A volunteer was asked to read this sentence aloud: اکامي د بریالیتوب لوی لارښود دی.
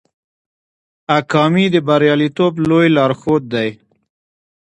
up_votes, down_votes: 1, 2